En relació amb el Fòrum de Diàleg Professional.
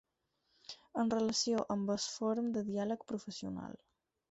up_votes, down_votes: 0, 6